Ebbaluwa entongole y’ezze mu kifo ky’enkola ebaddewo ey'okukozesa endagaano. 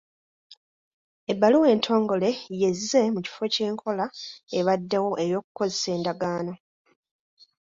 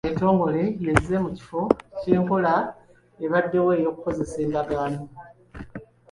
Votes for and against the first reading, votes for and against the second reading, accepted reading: 2, 0, 1, 2, first